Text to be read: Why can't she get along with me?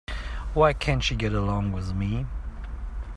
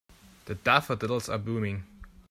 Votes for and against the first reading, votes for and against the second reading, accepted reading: 2, 0, 0, 2, first